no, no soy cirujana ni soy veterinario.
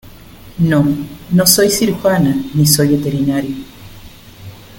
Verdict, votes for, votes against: accepted, 2, 0